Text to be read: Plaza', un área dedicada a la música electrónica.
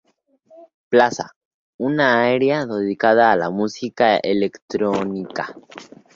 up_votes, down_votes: 0, 2